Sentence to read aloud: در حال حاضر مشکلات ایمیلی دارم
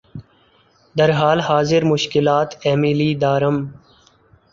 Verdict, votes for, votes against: accepted, 2, 0